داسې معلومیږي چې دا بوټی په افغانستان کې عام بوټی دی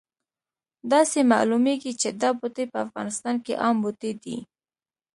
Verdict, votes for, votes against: rejected, 1, 2